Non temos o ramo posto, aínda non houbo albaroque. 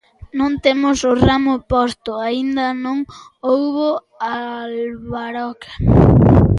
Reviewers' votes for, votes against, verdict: 1, 2, rejected